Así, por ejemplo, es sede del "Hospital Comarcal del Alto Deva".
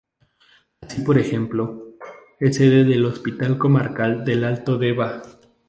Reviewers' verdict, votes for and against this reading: accepted, 4, 0